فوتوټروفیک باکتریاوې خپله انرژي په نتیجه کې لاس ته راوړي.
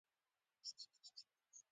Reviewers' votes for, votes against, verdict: 0, 2, rejected